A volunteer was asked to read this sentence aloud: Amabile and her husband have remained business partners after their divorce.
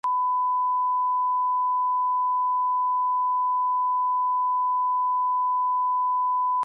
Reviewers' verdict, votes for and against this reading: rejected, 0, 2